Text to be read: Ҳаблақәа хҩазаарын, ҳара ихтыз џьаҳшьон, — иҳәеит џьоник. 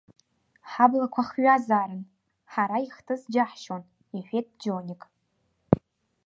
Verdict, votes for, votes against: accepted, 2, 0